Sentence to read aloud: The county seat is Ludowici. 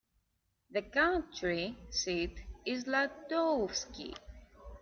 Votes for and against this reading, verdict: 1, 3, rejected